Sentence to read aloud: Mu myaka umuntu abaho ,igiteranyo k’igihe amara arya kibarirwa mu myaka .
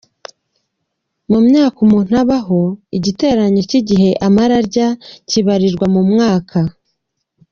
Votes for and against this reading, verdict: 2, 1, accepted